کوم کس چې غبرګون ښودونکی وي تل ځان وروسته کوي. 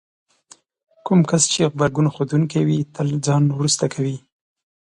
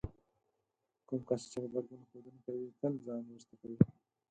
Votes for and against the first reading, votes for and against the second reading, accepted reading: 2, 0, 0, 4, first